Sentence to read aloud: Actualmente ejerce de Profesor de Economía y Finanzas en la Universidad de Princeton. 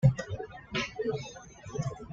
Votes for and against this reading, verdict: 1, 2, rejected